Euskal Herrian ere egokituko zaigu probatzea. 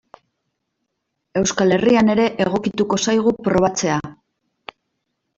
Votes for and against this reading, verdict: 2, 0, accepted